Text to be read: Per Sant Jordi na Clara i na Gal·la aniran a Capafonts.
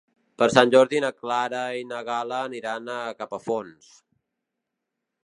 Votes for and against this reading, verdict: 3, 0, accepted